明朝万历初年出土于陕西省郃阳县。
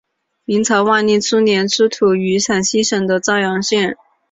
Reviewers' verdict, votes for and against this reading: rejected, 0, 2